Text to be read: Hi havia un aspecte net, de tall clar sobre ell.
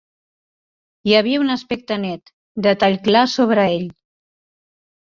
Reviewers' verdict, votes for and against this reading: accepted, 2, 0